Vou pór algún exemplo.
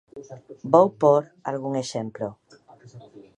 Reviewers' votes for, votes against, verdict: 1, 2, rejected